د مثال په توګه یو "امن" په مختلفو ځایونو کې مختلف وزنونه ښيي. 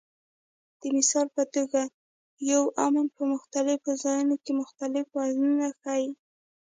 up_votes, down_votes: 0, 2